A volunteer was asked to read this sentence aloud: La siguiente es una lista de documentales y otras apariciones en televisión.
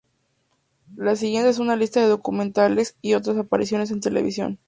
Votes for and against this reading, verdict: 10, 0, accepted